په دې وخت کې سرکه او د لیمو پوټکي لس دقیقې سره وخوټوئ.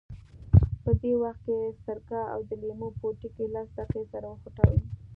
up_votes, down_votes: 2, 0